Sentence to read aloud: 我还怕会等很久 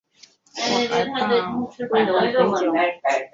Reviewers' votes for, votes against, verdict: 4, 0, accepted